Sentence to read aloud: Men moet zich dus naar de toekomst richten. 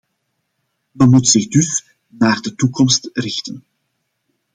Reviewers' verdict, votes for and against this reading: accepted, 2, 0